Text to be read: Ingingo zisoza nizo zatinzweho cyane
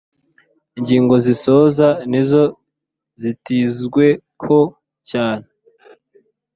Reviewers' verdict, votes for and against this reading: rejected, 0, 2